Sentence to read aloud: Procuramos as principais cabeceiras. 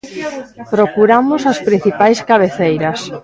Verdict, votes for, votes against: accepted, 2, 1